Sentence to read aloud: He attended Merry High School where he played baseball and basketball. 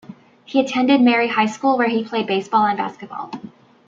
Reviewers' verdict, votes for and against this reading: rejected, 1, 2